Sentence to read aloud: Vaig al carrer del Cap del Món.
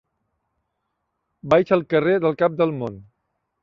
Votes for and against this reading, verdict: 2, 0, accepted